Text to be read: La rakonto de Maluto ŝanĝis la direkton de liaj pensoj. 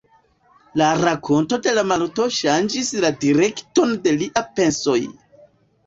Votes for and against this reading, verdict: 2, 1, accepted